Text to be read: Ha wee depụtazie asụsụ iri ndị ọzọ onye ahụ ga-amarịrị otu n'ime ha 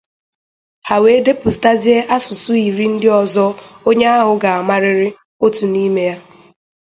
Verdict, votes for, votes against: accepted, 2, 0